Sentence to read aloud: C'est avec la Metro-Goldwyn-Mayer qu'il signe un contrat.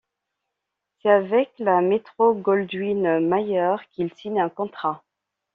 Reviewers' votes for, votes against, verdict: 0, 2, rejected